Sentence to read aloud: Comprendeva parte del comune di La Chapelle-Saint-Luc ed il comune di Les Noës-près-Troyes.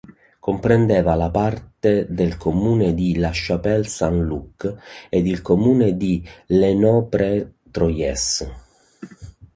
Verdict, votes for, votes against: rejected, 0, 2